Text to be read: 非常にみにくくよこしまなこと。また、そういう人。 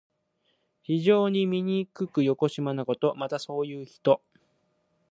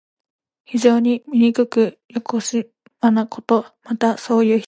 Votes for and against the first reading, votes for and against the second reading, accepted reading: 2, 0, 1, 2, first